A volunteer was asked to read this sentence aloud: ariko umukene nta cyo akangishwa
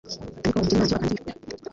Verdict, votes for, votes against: rejected, 0, 2